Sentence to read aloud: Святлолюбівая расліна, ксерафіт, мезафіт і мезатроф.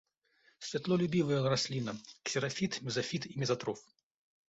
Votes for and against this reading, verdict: 2, 0, accepted